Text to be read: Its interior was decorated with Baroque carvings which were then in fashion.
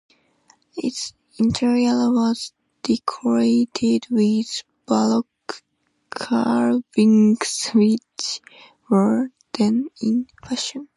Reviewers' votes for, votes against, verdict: 2, 0, accepted